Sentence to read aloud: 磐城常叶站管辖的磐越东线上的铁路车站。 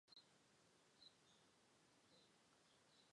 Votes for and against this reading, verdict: 0, 2, rejected